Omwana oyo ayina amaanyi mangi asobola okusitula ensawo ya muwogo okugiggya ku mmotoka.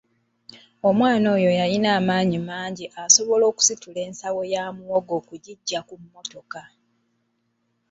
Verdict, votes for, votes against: rejected, 1, 2